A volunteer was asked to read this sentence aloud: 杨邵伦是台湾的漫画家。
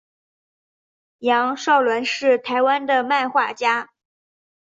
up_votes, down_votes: 2, 0